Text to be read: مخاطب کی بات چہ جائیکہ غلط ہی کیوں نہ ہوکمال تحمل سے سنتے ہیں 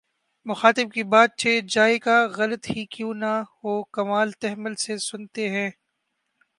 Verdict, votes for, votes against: rejected, 0, 2